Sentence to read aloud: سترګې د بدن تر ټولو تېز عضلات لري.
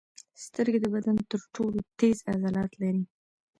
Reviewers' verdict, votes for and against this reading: rejected, 1, 2